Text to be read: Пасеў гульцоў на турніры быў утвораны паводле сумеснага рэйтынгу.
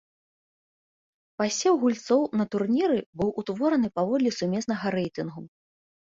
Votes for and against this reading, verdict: 2, 0, accepted